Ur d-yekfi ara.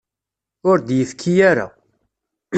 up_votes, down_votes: 1, 2